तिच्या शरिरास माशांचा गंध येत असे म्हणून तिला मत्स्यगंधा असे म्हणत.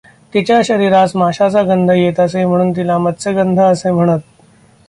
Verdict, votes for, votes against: accepted, 2, 0